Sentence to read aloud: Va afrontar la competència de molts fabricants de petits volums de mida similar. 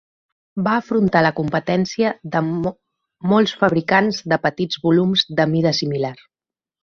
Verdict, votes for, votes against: rejected, 0, 2